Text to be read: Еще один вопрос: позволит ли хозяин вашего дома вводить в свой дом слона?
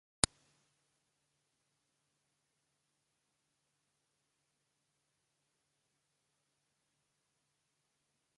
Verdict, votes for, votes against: rejected, 0, 2